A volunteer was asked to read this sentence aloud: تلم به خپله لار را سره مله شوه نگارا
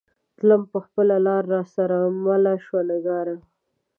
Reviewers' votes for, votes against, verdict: 2, 1, accepted